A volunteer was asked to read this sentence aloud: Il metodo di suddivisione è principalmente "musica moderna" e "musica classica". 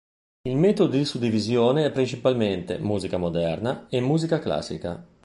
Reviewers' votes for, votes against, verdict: 2, 0, accepted